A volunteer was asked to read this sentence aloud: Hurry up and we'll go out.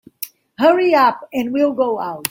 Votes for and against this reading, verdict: 2, 0, accepted